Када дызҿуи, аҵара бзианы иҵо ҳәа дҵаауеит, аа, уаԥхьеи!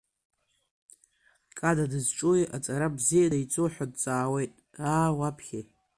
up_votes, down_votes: 2, 0